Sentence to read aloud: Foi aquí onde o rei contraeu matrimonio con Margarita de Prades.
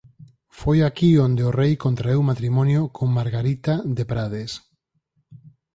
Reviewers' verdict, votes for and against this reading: accepted, 4, 0